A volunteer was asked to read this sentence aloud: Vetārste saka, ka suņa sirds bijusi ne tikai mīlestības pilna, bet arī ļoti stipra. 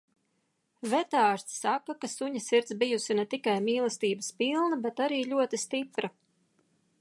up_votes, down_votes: 2, 0